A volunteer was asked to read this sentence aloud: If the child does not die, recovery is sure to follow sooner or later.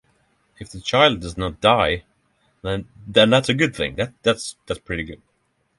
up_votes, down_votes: 0, 6